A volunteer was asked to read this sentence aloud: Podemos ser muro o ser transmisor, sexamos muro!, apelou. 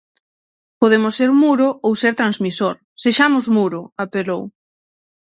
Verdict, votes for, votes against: rejected, 3, 6